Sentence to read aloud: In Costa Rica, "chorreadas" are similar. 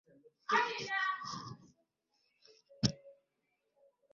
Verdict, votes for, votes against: rejected, 0, 2